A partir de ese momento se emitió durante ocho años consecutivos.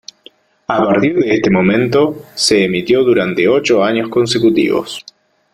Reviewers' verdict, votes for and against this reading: rejected, 0, 2